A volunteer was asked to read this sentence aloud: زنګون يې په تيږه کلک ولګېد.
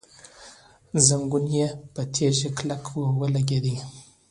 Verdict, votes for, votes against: accepted, 2, 0